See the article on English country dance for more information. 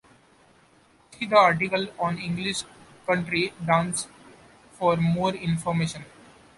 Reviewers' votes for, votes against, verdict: 1, 2, rejected